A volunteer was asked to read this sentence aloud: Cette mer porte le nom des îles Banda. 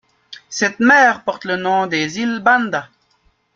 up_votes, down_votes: 0, 2